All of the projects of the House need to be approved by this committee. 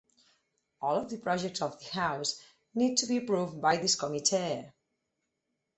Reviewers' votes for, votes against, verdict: 4, 0, accepted